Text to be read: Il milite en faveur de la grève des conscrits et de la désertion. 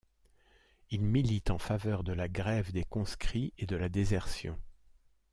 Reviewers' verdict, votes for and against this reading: accepted, 2, 0